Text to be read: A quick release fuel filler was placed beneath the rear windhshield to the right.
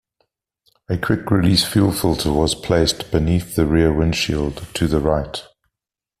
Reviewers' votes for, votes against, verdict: 0, 2, rejected